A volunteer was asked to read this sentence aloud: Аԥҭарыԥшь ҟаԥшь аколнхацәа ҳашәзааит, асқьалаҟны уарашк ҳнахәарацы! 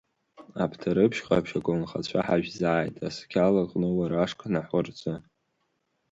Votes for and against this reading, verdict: 3, 4, rejected